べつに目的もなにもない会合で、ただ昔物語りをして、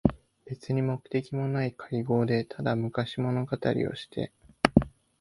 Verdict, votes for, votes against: accepted, 2, 0